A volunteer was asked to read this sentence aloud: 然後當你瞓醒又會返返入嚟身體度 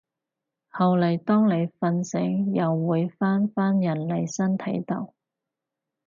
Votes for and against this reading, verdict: 2, 4, rejected